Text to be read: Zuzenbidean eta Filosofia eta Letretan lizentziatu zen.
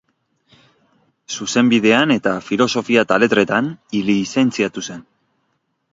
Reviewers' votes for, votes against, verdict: 3, 0, accepted